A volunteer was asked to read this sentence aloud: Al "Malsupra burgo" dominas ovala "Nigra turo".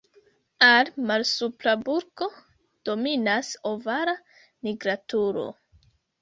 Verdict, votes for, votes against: rejected, 0, 2